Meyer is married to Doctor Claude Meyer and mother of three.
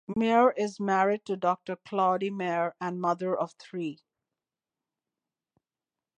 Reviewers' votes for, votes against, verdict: 2, 0, accepted